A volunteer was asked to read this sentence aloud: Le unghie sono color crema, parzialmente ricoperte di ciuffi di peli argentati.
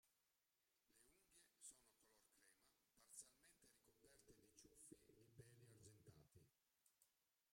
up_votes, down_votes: 0, 2